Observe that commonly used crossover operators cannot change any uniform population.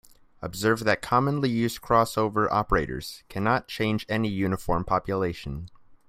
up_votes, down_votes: 2, 0